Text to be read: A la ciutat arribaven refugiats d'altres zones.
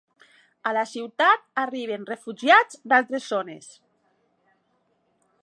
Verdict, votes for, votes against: rejected, 1, 2